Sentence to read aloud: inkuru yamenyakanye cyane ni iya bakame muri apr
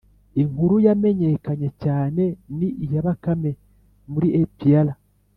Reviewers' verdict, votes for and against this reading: accepted, 2, 0